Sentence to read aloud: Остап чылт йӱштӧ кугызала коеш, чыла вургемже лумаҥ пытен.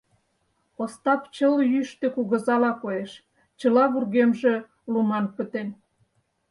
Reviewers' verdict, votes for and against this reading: rejected, 0, 4